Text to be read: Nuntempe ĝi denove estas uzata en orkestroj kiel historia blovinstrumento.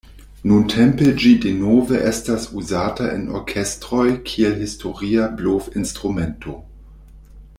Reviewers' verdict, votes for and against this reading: rejected, 1, 2